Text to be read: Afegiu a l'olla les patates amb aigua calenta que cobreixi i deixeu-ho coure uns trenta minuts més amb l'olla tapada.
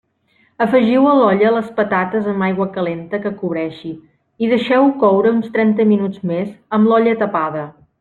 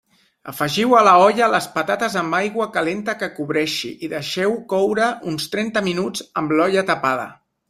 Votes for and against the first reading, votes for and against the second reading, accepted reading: 3, 0, 0, 2, first